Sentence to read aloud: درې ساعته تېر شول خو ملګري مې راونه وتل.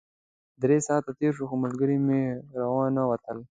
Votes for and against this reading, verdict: 2, 0, accepted